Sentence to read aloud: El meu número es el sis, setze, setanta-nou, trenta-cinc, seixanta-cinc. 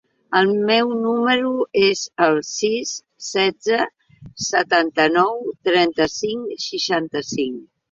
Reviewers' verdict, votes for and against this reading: accepted, 2, 0